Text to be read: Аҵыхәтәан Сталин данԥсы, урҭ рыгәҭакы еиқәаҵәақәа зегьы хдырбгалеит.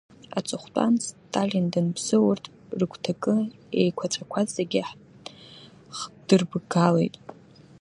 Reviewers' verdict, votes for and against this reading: rejected, 1, 2